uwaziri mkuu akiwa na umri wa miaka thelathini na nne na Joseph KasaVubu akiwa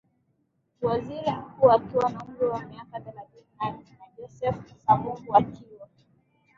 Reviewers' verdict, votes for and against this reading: rejected, 0, 5